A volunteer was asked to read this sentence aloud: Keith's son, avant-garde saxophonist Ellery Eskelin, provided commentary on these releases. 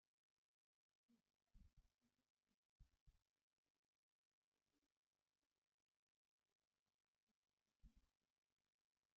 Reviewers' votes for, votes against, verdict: 0, 2, rejected